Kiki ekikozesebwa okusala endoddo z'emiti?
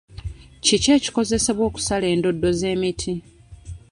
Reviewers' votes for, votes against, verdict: 2, 0, accepted